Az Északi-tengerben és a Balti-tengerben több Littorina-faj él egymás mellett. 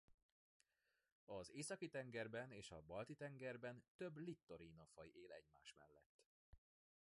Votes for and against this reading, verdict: 1, 2, rejected